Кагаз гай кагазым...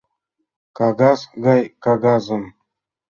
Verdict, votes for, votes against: accepted, 2, 0